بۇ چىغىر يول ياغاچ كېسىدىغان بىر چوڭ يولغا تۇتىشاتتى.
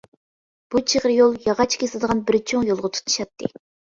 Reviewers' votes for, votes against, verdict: 2, 0, accepted